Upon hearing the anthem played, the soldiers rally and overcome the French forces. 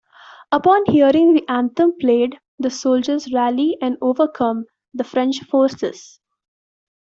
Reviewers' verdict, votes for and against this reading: accepted, 2, 0